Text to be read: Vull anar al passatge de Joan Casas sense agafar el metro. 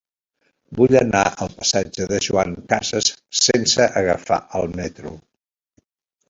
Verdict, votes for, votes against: rejected, 0, 2